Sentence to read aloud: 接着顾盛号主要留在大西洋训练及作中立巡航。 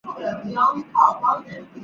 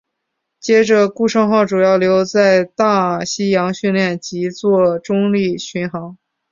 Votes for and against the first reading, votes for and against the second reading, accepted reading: 0, 2, 3, 0, second